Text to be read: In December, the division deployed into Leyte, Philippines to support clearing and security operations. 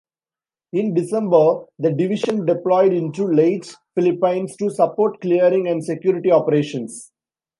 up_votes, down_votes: 2, 0